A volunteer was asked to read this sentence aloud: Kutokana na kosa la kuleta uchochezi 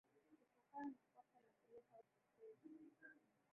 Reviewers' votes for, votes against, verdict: 1, 3, rejected